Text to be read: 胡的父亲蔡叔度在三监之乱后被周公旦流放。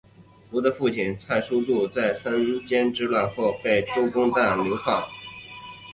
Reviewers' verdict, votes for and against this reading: accepted, 5, 0